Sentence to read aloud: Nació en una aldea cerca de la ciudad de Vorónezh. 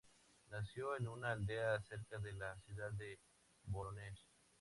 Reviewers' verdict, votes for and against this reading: accepted, 2, 0